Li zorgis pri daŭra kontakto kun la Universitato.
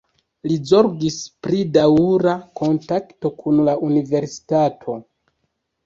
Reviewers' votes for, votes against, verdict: 0, 2, rejected